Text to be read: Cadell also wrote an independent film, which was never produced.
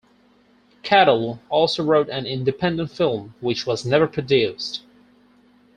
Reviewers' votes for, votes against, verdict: 4, 0, accepted